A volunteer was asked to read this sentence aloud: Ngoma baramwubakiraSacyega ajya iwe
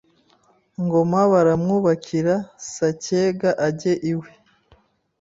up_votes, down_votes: 0, 2